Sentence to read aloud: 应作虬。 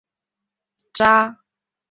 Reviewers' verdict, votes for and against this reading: rejected, 0, 2